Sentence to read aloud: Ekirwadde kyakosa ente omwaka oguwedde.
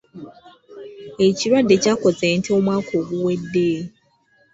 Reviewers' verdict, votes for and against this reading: accepted, 2, 1